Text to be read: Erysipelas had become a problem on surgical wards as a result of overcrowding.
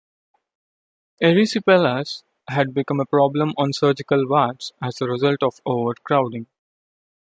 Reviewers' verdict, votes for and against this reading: accepted, 2, 0